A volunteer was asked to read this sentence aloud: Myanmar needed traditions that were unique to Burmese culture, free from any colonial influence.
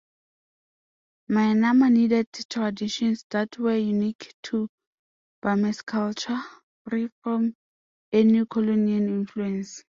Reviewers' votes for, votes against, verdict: 2, 1, accepted